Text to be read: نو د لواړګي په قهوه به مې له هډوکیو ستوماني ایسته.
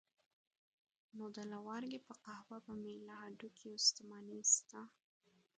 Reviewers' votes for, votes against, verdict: 0, 2, rejected